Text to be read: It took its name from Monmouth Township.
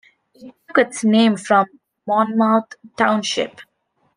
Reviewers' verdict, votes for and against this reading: rejected, 1, 2